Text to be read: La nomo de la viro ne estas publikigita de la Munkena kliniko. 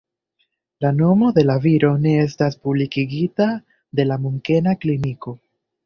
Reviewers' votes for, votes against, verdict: 1, 2, rejected